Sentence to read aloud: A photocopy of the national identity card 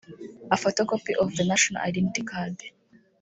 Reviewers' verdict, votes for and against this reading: rejected, 1, 2